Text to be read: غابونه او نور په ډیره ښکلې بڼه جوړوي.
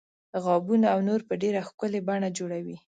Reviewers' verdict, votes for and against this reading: accepted, 2, 0